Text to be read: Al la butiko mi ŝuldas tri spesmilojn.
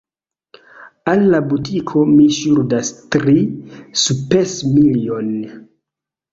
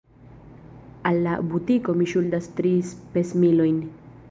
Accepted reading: second